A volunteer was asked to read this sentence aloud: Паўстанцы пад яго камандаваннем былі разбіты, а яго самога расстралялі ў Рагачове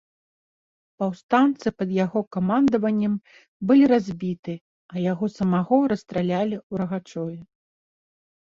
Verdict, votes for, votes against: rejected, 2, 3